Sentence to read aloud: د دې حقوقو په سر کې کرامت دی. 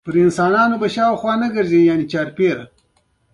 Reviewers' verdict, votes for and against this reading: accepted, 2, 0